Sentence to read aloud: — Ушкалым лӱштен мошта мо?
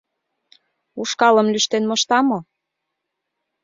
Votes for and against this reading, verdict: 2, 0, accepted